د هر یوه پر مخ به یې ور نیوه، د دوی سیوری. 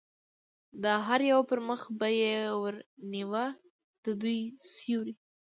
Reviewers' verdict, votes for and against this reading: accepted, 2, 0